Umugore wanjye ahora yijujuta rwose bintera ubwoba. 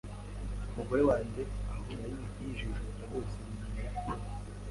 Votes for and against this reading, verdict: 1, 2, rejected